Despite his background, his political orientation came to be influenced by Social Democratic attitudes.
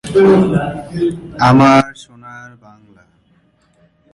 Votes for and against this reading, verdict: 0, 2, rejected